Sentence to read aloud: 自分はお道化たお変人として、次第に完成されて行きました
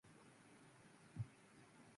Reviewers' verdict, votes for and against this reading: rejected, 0, 2